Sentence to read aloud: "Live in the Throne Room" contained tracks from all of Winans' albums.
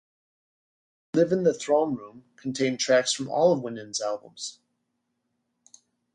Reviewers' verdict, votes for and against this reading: rejected, 1, 2